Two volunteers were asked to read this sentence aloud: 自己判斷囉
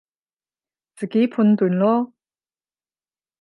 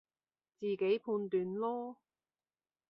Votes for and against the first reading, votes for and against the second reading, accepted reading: 0, 10, 2, 0, second